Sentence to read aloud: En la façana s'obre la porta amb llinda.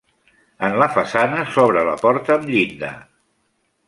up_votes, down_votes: 3, 0